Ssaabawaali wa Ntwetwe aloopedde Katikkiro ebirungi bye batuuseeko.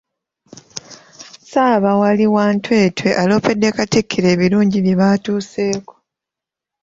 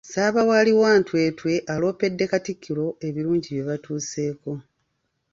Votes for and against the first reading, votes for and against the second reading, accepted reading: 1, 2, 2, 0, second